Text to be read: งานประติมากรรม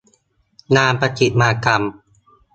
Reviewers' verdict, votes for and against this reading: accepted, 2, 0